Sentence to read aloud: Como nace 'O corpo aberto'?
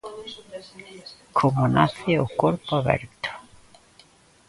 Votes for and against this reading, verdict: 1, 2, rejected